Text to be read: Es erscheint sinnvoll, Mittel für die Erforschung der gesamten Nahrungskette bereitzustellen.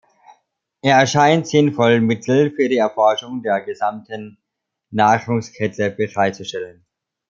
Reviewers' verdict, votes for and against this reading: rejected, 0, 2